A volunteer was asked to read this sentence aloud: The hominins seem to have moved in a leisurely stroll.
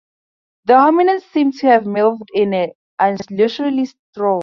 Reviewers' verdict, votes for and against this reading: rejected, 0, 4